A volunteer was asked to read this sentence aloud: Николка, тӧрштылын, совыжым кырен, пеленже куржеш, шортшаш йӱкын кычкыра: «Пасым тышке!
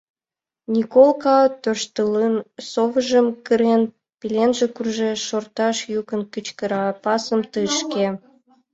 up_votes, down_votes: 2, 0